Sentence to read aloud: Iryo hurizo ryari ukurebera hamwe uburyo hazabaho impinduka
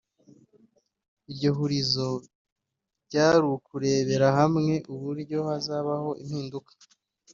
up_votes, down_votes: 1, 2